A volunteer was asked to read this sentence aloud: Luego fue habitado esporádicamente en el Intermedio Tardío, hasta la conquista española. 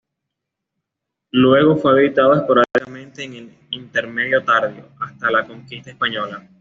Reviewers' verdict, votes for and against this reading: rejected, 0, 2